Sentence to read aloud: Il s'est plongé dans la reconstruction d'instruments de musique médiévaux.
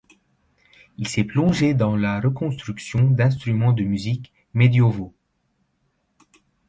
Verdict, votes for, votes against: rejected, 0, 2